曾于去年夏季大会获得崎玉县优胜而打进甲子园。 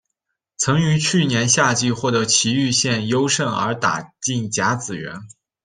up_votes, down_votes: 0, 2